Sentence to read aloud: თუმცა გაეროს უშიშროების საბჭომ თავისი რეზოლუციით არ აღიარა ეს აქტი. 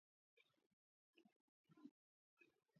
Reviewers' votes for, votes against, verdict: 0, 3, rejected